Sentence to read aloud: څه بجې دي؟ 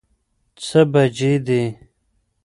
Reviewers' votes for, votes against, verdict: 2, 1, accepted